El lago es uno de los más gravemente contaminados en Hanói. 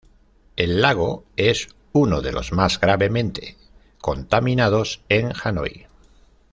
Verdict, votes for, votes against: accepted, 2, 0